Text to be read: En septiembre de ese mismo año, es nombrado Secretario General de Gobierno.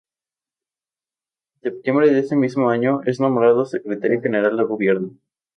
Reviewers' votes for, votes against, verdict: 6, 0, accepted